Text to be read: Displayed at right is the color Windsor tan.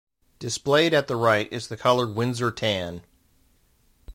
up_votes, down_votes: 0, 2